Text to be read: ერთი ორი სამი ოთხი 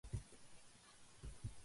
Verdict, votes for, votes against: rejected, 0, 2